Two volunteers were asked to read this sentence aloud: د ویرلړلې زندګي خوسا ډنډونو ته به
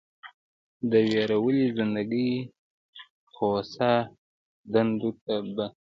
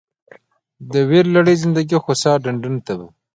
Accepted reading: second